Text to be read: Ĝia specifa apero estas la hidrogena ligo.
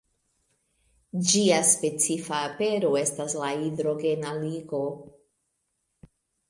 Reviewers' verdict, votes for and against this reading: accepted, 2, 1